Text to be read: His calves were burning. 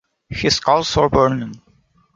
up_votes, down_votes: 1, 2